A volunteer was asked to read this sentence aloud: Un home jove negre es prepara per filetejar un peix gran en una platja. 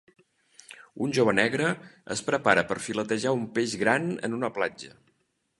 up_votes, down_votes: 0, 2